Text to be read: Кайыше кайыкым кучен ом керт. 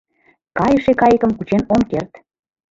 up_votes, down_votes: 2, 0